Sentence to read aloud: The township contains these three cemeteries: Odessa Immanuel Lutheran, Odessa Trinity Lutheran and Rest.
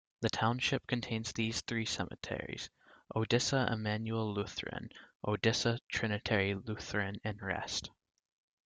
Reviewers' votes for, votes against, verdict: 0, 2, rejected